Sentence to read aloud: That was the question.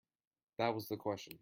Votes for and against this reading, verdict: 2, 0, accepted